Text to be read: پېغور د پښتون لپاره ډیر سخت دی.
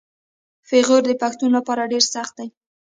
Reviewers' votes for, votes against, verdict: 2, 0, accepted